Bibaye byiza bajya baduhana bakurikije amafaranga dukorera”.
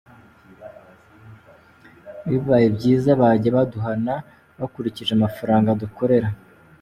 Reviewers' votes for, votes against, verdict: 2, 1, accepted